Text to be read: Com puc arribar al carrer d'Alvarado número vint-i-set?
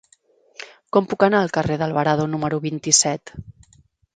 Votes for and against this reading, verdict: 0, 4, rejected